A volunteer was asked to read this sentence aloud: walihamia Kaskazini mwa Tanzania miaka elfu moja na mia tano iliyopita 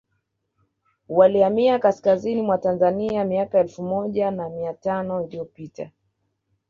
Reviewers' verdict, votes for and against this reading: accepted, 2, 0